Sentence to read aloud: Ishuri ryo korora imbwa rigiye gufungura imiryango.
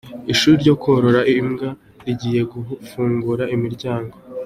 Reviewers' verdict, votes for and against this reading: accepted, 2, 0